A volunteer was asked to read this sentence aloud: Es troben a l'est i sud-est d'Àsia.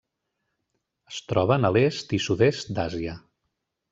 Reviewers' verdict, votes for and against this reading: accepted, 3, 0